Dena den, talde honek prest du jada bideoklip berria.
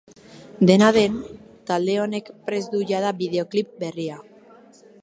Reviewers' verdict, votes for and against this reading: accepted, 2, 1